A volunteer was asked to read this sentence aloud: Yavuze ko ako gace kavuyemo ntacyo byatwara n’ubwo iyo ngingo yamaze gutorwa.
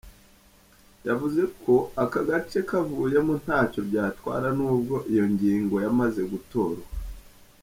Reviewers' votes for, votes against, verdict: 3, 1, accepted